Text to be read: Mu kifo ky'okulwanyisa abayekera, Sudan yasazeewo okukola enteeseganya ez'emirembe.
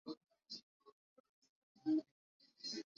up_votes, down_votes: 0, 2